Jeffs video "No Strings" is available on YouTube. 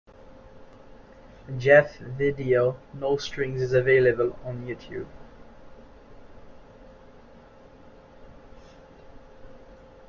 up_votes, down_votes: 2, 0